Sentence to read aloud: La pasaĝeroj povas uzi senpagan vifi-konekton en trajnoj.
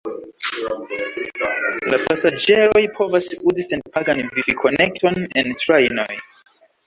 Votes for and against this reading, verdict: 2, 0, accepted